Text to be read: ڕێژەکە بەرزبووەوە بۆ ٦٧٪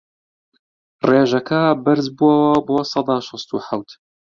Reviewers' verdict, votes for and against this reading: rejected, 0, 2